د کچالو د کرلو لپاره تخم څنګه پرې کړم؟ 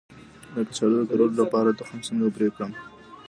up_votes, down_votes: 0, 2